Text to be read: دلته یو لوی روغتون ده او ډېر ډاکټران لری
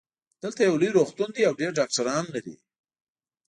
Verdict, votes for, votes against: rejected, 0, 2